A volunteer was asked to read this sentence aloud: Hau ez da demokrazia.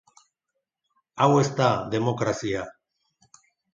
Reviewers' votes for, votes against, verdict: 0, 5, rejected